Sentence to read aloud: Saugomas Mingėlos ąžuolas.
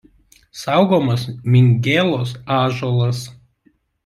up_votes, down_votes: 2, 0